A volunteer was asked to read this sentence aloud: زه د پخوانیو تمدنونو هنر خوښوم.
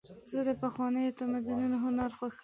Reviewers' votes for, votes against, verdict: 2, 0, accepted